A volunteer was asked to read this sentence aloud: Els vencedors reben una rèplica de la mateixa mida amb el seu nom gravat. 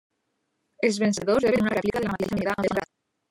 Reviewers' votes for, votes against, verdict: 0, 2, rejected